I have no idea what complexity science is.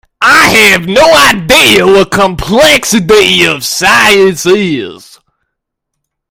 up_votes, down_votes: 1, 2